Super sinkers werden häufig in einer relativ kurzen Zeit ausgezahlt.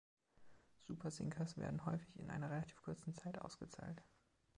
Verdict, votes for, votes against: accepted, 2, 0